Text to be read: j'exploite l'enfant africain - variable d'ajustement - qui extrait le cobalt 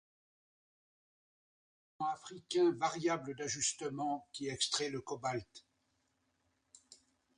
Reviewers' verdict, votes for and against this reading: rejected, 1, 2